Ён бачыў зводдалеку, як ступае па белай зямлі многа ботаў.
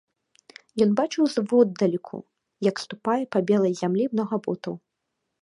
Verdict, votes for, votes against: accepted, 2, 0